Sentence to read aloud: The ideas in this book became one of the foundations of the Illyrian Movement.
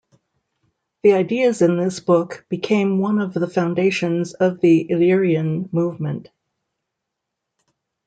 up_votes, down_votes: 2, 0